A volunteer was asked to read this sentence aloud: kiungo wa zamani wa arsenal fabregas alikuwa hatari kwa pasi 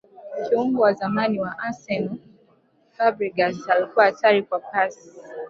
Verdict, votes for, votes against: rejected, 1, 2